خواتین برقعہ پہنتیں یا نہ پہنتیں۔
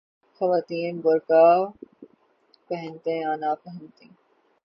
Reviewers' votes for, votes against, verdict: 0, 3, rejected